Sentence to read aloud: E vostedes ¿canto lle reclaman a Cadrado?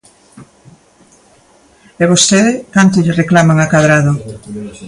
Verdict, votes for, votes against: rejected, 0, 2